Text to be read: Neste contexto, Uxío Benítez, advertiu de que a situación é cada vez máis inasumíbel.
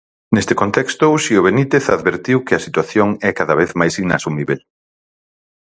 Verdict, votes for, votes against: rejected, 0, 4